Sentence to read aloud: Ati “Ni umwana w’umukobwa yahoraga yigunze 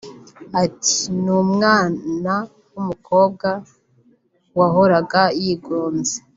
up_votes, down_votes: 1, 2